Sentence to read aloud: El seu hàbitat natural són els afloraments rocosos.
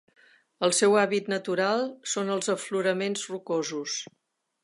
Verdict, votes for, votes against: rejected, 1, 2